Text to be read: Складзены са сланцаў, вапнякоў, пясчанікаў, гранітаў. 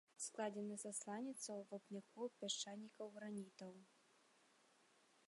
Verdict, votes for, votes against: rejected, 1, 2